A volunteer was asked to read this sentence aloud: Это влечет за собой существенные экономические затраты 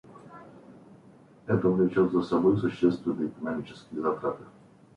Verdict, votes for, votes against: rejected, 0, 2